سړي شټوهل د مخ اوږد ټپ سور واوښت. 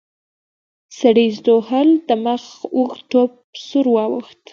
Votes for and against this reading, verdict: 3, 0, accepted